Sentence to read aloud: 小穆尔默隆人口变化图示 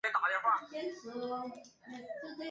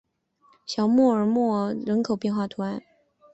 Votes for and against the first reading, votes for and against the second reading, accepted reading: 2, 0, 0, 2, first